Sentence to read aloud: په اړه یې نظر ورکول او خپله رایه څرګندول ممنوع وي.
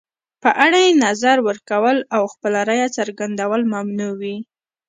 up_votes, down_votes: 3, 0